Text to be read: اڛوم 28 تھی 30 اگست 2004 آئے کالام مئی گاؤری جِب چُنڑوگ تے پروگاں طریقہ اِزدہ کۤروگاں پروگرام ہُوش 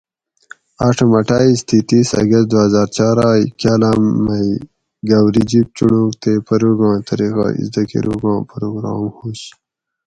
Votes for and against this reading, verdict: 0, 2, rejected